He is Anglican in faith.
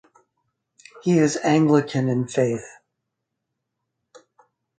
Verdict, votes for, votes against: accepted, 4, 0